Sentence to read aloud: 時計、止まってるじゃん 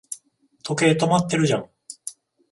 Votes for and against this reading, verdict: 14, 0, accepted